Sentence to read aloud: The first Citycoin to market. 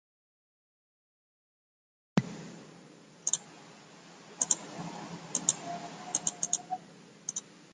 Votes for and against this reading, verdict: 0, 2, rejected